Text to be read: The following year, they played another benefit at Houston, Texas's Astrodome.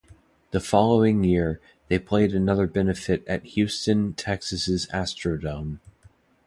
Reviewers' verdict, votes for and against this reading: accepted, 2, 0